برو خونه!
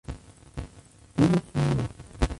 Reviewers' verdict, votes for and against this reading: rejected, 0, 2